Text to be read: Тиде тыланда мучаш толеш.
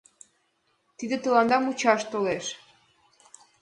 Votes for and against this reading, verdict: 3, 0, accepted